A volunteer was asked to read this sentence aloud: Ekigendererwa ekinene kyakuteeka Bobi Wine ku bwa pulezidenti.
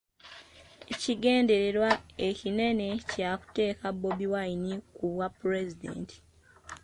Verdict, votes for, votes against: accepted, 2, 0